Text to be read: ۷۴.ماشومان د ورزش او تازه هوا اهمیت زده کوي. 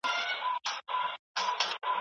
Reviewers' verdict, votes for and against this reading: rejected, 0, 2